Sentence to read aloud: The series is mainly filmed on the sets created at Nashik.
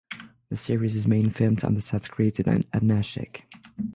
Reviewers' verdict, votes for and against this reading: rejected, 3, 6